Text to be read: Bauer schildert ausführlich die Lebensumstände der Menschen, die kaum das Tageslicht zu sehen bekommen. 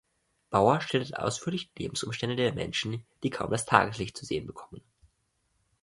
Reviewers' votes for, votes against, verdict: 1, 2, rejected